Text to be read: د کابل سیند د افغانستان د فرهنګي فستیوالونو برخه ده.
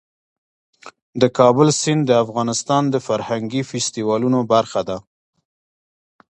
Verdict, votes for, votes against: accepted, 2, 0